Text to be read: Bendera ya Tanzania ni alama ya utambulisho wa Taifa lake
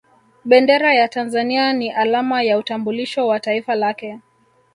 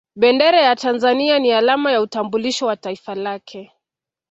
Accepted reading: second